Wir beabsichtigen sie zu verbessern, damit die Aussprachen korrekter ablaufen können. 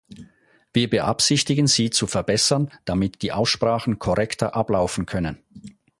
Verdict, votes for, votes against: accepted, 4, 0